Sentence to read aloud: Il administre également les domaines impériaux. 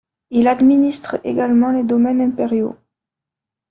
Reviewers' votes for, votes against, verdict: 1, 2, rejected